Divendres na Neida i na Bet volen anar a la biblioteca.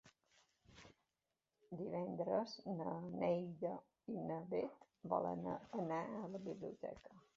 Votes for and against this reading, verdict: 2, 1, accepted